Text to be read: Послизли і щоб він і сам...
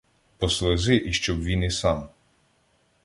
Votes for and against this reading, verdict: 1, 2, rejected